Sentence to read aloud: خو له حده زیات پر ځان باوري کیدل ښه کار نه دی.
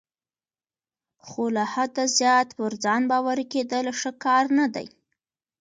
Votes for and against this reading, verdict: 1, 2, rejected